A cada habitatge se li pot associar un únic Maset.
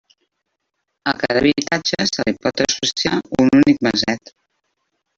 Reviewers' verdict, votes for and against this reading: rejected, 0, 2